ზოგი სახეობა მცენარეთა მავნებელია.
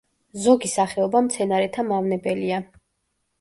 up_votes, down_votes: 2, 0